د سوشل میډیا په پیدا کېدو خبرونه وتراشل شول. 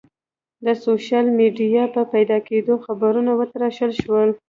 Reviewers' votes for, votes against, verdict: 2, 0, accepted